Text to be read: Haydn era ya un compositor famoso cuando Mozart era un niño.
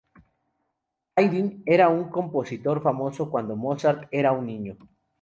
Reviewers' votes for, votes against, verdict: 0, 2, rejected